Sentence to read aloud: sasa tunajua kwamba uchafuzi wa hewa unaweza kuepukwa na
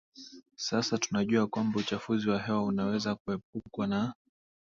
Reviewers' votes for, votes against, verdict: 3, 0, accepted